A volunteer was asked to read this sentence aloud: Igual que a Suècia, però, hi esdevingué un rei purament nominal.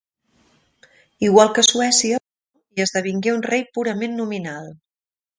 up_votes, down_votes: 0, 2